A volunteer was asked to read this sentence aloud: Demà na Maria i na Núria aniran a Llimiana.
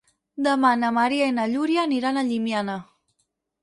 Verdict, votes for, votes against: rejected, 2, 4